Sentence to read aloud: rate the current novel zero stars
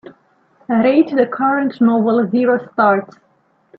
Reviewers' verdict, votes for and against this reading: accepted, 2, 0